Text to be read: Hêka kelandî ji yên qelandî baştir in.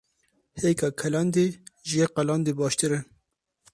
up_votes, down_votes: 2, 2